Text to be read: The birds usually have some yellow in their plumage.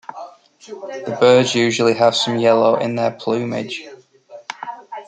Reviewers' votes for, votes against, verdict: 0, 2, rejected